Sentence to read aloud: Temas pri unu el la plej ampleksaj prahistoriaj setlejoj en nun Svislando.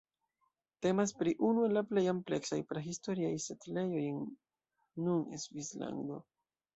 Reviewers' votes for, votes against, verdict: 2, 0, accepted